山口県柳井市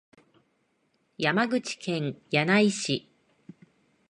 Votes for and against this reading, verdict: 3, 0, accepted